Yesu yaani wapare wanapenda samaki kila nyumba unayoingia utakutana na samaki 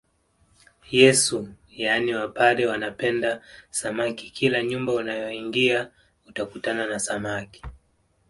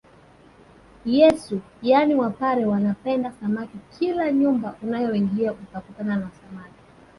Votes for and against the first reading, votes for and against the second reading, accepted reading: 2, 0, 0, 2, first